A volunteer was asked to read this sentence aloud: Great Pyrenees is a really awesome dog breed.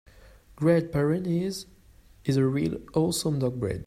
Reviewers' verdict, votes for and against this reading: rejected, 0, 2